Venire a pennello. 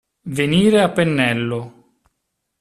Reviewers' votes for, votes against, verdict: 2, 0, accepted